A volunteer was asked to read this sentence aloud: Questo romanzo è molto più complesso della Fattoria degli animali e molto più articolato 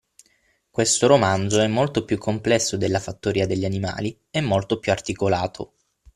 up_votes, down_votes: 6, 0